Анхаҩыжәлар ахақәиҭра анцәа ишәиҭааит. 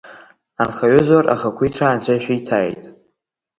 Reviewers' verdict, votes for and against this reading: rejected, 0, 2